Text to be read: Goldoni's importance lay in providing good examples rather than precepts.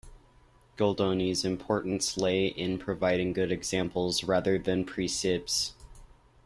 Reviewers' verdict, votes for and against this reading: rejected, 1, 2